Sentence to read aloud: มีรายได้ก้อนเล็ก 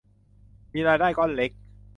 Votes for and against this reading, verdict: 2, 0, accepted